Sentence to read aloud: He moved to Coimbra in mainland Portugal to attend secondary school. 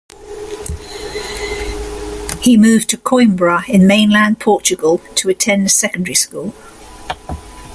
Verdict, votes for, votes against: accepted, 2, 0